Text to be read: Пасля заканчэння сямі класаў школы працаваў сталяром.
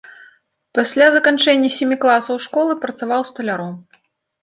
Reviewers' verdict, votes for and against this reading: accepted, 2, 0